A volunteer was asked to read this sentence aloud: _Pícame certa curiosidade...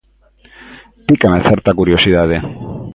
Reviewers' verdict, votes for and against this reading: accepted, 2, 0